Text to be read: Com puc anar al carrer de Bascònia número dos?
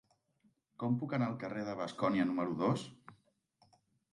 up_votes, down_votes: 4, 0